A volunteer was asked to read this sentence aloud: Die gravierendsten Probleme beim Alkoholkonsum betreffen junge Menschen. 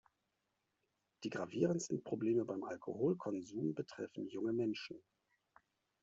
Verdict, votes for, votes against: rejected, 1, 2